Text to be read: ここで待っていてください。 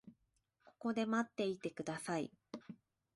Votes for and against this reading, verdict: 2, 0, accepted